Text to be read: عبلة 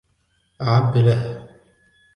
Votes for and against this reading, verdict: 1, 2, rejected